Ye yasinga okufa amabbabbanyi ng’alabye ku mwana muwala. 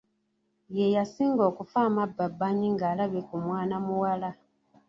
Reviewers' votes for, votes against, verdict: 0, 2, rejected